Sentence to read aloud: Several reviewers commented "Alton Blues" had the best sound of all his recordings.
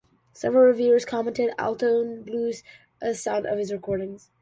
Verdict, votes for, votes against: rejected, 0, 2